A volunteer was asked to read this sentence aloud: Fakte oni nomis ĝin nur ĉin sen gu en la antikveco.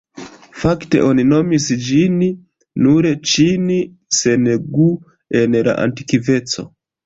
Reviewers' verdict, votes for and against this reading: accepted, 2, 0